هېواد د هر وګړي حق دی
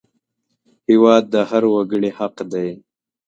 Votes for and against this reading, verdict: 2, 0, accepted